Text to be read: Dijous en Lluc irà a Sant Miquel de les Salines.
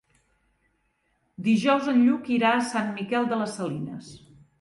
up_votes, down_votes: 2, 0